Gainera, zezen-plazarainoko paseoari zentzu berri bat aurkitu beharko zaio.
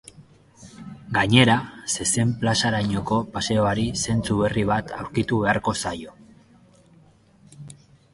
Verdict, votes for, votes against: accepted, 2, 0